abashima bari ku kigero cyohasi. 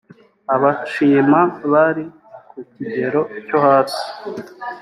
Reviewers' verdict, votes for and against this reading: accepted, 2, 0